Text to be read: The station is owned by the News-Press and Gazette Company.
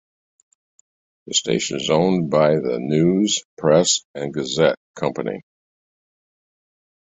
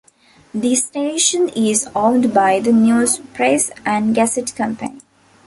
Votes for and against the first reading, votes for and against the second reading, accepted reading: 2, 0, 0, 2, first